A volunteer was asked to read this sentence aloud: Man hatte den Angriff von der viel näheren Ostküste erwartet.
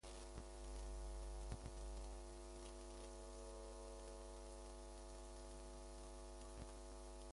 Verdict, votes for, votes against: rejected, 0, 2